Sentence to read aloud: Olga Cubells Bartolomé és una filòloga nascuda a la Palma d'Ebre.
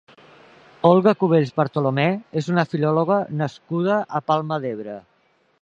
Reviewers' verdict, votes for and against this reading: rejected, 1, 2